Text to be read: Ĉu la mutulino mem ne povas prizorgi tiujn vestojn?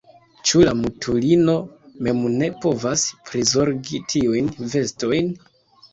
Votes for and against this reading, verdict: 1, 2, rejected